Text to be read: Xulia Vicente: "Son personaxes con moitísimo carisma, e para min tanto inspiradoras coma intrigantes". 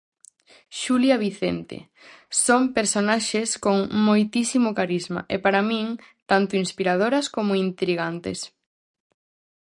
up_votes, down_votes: 4, 0